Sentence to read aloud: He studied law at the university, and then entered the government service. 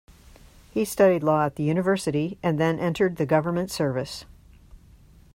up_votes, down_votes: 2, 0